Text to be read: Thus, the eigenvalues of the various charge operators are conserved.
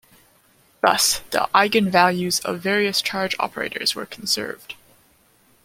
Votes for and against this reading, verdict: 0, 2, rejected